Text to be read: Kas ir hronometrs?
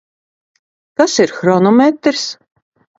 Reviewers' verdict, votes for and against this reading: accepted, 2, 0